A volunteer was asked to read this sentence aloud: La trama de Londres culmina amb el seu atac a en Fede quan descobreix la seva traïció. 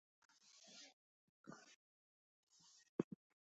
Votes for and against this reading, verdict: 0, 2, rejected